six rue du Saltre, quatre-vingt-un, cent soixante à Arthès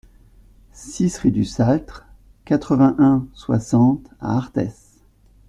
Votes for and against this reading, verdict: 0, 2, rejected